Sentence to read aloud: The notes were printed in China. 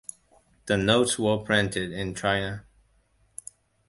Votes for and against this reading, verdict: 2, 0, accepted